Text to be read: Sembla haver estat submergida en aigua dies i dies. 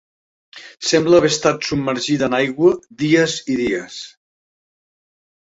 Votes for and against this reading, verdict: 4, 0, accepted